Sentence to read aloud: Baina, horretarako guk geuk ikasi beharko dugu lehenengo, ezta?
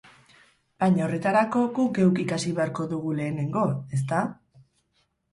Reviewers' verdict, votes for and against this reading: rejected, 2, 2